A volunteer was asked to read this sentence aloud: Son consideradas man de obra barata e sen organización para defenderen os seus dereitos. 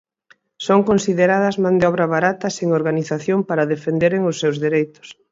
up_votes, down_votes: 2, 4